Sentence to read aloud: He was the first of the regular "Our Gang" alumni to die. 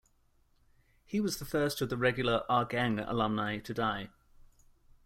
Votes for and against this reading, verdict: 2, 0, accepted